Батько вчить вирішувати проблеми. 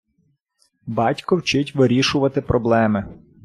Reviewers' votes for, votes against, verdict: 2, 0, accepted